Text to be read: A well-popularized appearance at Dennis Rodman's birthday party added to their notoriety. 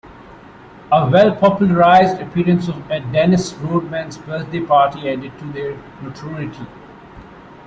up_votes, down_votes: 1, 2